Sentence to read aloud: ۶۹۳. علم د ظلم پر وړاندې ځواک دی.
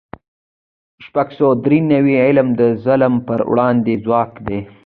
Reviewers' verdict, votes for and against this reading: rejected, 0, 2